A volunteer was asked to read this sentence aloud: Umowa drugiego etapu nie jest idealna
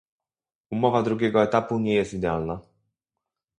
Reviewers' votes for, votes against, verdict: 2, 2, rejected